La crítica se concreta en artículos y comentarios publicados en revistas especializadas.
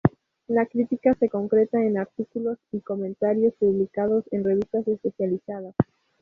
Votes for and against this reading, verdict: 2, 0, accepted